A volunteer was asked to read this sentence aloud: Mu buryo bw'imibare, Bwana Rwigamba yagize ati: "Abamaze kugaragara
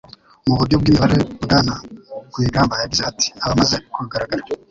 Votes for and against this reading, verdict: 0, 2, rejected